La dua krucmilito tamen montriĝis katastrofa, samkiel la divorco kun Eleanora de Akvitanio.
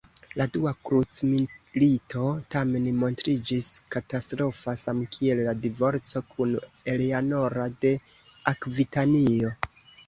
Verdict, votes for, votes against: accepted, 2, 1